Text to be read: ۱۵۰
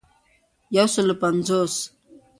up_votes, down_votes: 0, 2